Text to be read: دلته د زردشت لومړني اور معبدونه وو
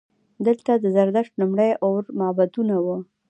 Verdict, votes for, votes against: accepted, 2, 0